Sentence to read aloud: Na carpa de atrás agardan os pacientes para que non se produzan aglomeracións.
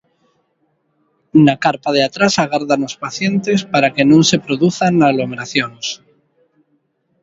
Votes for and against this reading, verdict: 2, 0, accepted